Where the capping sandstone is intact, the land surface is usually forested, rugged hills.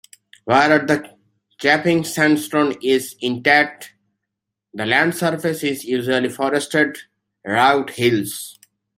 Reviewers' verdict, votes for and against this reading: rejected, 0, 2